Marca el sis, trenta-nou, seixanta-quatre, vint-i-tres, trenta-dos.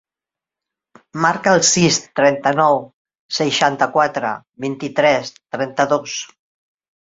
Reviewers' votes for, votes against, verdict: 3, 0, accepted